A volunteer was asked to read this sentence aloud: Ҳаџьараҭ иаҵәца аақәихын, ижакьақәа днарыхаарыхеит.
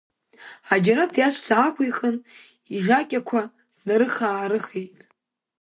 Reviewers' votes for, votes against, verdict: 2, 1, accepted